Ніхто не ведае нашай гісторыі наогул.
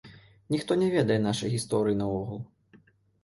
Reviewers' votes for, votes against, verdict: 2, 0, accepted